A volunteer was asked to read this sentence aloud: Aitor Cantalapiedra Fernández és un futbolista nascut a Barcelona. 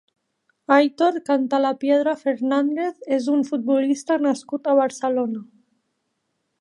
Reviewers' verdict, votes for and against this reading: accepted, 5, 1